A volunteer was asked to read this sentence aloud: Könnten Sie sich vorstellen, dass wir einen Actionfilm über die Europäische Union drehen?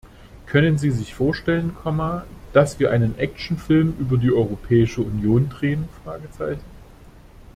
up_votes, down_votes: 0, 2